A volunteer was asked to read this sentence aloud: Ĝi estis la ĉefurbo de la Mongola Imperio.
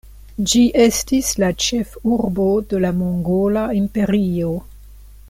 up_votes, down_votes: 2, 1